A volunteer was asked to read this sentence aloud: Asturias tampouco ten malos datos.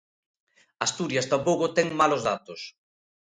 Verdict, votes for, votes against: accepted, 2, 0